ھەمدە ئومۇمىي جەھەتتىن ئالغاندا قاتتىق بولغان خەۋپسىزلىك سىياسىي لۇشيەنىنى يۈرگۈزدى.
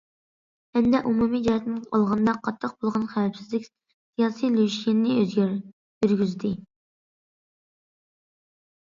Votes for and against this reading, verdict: 0, 2, rejected